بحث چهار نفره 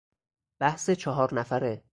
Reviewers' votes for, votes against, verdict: 4, 0, accepted